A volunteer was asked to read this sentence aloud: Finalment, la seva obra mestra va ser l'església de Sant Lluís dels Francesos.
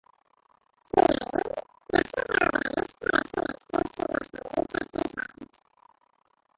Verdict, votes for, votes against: rejected, 0, 2